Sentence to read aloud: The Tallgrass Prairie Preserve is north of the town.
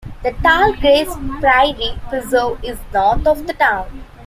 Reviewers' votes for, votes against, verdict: 2, 0, accepted